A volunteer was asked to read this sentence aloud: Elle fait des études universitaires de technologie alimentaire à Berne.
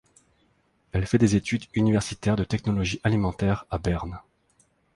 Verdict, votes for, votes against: accepted, 2, 0